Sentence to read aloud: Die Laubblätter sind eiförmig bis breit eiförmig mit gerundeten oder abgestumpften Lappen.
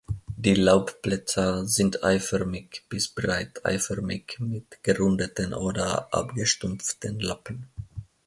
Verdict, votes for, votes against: accepted, 2, 0